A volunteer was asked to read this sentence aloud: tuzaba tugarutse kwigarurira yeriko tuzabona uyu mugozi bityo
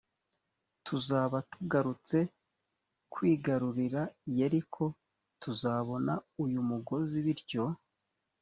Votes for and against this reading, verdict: 2, 0, accepted